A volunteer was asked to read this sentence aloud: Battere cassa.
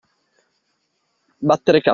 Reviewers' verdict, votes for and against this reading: rejected, 0, 2